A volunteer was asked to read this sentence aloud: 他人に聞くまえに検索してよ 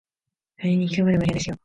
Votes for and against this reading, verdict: 0, 2, rejected